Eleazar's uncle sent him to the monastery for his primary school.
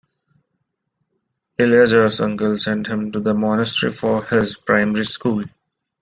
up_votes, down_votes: 2, 0